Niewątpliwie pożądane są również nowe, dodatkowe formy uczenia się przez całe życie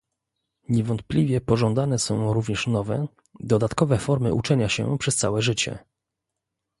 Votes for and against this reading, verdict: 2, 0, accepted